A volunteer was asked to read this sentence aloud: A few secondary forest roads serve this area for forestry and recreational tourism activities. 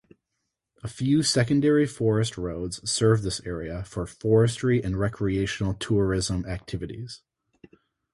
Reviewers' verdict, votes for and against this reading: accepted, 2, 0